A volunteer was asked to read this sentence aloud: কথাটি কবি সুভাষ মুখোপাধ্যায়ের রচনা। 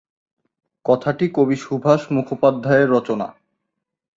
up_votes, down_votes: 2, 0